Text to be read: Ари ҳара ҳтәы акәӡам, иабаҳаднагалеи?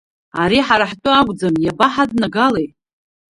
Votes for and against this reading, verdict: 2, 1, accepted